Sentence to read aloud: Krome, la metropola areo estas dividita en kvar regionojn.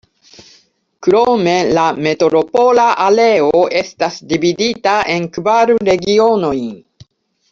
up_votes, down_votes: 0, 2